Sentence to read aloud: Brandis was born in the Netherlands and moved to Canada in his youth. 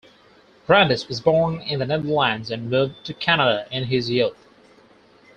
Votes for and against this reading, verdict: 2, 4, rejected